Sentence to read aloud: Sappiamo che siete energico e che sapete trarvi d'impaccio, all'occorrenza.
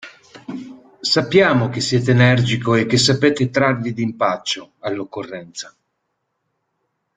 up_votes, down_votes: 2, 0